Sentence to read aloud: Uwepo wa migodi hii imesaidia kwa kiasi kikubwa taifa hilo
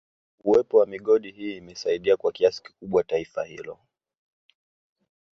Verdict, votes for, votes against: rejected, 0, 2